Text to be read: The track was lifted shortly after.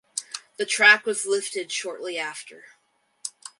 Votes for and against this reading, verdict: 2, 2, rejected